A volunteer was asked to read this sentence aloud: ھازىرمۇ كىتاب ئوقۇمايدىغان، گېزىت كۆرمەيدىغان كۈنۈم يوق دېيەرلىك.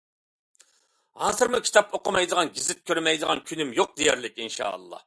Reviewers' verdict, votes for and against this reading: rejected, 0, 2